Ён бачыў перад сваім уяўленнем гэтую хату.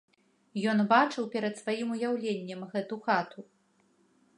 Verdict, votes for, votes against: rejected, 0, 2